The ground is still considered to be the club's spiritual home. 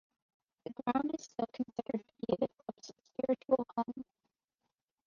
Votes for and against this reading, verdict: 0, 2, rejected